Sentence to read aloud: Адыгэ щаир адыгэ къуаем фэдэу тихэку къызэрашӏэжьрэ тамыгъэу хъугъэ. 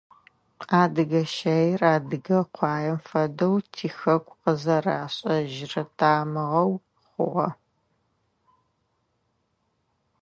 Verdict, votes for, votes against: accepted, 2, 0